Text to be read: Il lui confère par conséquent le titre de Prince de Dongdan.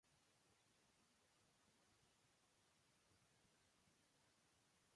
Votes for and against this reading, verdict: 0, 2, rejected